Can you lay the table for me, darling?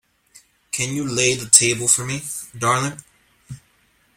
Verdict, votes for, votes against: rejected, 1, 2